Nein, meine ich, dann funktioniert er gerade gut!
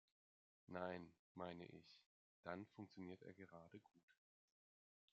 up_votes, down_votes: 1, 2